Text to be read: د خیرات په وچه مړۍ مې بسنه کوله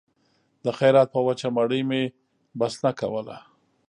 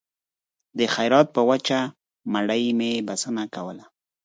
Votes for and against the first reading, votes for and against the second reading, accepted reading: 1, 2, 4, 0, second